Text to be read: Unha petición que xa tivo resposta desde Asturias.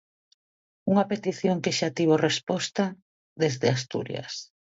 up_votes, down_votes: 2, 0